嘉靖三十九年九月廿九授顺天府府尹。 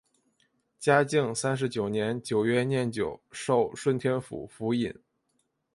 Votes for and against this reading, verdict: 3, 0, accepted